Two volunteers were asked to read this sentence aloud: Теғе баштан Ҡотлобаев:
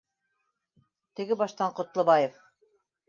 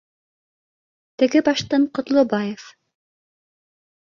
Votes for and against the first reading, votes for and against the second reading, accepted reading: 2, 1, 1, 2, first